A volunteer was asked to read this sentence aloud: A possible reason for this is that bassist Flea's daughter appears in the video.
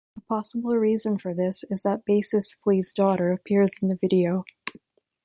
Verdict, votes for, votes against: accepted, 2, 0